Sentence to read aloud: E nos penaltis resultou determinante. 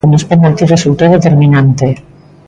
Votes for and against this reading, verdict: 2, 0, accepted